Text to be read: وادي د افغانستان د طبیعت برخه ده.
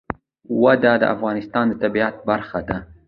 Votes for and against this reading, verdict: 1, 2, rejected